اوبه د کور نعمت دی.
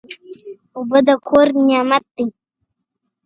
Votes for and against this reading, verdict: 2, 1, accepted